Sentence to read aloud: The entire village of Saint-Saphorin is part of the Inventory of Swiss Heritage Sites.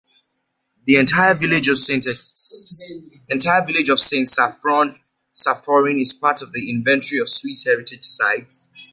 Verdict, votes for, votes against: rejected, 0, 2